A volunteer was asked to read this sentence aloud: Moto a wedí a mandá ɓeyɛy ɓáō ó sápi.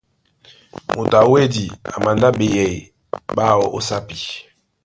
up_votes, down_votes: 1, 2